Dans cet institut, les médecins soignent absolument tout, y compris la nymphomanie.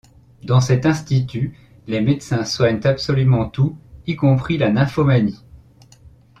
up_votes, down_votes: 2, 0